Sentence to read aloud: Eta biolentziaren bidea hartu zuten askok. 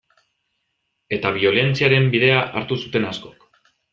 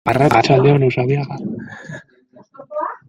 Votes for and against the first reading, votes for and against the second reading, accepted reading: 2, 0, 1, 2, first